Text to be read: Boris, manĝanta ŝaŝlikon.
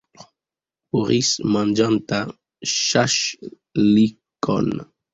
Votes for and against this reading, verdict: 2, 0, accepted